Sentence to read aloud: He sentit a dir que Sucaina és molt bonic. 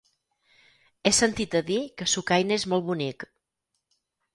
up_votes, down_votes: 4, 0